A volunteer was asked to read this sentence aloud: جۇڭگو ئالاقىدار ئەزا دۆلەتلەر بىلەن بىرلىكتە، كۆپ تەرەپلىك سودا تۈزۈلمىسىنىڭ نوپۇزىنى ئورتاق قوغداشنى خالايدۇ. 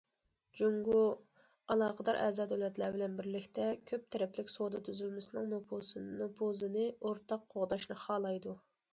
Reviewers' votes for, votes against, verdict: 1, 2, rejected